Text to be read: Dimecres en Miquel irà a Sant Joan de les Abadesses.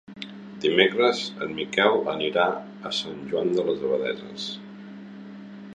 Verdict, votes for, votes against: rejected, 0, 2